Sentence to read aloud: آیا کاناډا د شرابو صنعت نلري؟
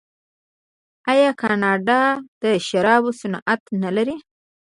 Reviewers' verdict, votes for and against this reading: rejected, 1, 2